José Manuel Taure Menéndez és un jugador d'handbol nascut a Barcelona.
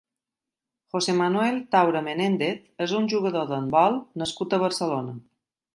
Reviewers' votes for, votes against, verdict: 0, 2, rejected